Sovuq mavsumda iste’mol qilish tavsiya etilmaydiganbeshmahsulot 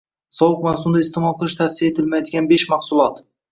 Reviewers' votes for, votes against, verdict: 2, 0, accepted